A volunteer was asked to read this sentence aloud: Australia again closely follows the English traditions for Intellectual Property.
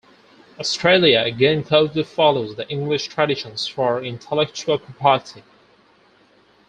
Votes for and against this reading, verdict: 0, 4, rejected